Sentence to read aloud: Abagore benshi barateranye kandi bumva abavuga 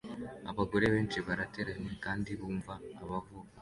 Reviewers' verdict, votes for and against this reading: accepted, 2, 0